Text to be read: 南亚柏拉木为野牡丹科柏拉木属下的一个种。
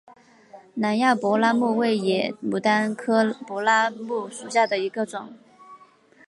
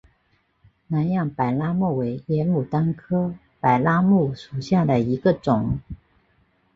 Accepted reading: first